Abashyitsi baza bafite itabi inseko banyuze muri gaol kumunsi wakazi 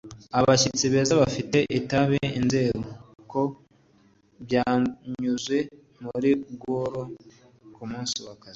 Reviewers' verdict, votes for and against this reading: rejected, 0, 3